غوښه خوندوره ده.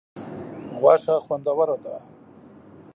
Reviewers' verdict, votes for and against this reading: accepted, 2, 0